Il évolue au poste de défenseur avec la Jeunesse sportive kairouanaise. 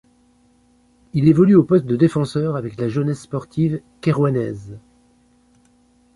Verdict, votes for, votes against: accepted, 2, 0